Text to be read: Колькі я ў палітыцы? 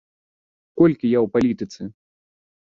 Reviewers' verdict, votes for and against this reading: accepted, 2, 0